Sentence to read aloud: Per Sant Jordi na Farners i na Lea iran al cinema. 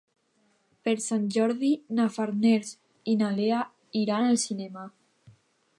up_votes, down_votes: 2, 0